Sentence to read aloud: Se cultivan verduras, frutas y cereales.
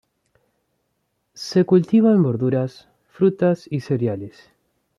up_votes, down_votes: 2, 0